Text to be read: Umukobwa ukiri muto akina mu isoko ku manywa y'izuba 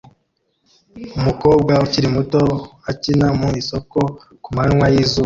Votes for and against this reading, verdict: 2, 1, accepted